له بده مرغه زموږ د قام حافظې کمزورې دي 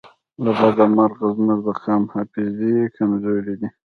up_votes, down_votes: 2, 0